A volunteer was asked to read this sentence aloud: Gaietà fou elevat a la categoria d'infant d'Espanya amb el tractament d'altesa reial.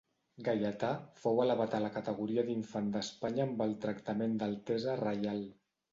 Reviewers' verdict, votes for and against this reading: accepted, 2, 0